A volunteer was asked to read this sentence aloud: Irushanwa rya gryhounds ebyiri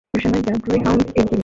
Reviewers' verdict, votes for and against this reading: rejected, 0, 2